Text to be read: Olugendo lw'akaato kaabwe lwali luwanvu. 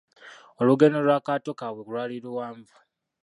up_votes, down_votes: 1, 2